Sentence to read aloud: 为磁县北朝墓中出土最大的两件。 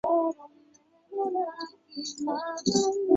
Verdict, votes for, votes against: rejected, 0, 2